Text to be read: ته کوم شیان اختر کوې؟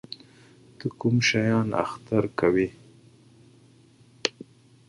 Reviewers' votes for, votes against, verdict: 2, 0, accepted